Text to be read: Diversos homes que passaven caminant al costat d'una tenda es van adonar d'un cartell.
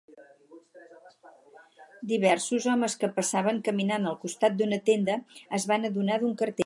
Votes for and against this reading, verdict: 2, 2, rejected